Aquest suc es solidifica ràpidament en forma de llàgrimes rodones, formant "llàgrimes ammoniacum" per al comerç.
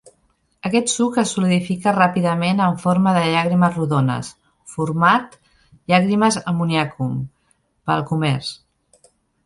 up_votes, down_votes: 0, 2